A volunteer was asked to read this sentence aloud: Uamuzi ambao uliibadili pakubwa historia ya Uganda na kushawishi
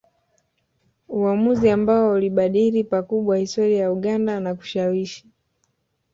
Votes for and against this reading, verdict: 1, 2, rejected